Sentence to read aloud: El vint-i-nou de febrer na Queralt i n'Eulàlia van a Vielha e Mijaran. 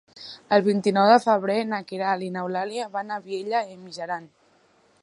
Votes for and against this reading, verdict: 2, 0, accepted